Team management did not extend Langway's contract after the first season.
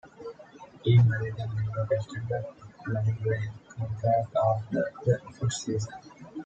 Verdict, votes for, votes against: accepted, 2, 1